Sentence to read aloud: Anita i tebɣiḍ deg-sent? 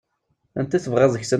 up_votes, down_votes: 2, 1